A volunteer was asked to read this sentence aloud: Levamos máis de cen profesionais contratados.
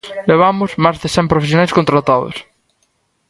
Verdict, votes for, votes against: rejected, 0, 2